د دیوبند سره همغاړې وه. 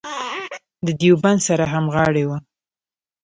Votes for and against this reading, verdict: 1, 2, rejected